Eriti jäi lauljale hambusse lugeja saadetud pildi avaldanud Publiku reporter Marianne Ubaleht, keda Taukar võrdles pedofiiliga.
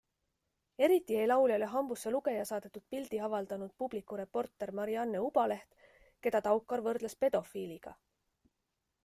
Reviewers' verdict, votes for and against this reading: accepted, 2, 0